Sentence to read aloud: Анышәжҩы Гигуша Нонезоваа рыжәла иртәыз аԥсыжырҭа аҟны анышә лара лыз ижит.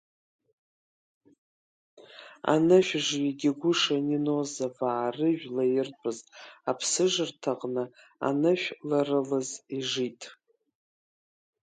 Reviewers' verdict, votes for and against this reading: accepted, 2, 0